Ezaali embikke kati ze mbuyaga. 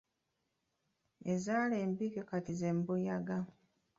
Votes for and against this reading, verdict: 1, 2, rejected